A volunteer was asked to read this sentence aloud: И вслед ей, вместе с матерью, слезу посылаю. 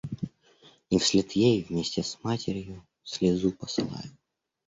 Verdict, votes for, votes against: rejected, 1, 2